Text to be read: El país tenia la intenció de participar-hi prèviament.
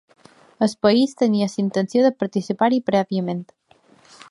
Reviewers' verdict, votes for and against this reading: rejected, 0, 3